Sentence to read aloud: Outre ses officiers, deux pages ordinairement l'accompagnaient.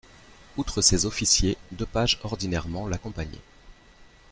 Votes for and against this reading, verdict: 2, 0, accepted